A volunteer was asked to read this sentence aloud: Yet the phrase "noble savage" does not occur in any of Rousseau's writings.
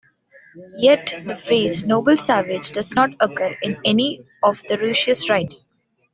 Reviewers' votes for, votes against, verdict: 1, 2, rejected